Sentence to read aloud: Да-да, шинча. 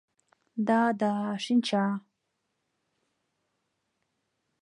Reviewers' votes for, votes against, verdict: 2, 0, accepted